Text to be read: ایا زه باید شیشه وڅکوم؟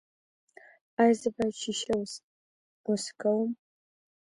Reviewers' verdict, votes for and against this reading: accepted, 2, 1